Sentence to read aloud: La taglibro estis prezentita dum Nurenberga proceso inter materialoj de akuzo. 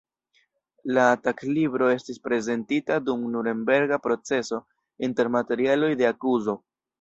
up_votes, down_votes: 3, 0